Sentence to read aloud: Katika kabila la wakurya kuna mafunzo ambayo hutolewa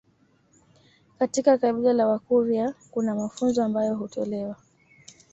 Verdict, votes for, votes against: accepted, 2, 0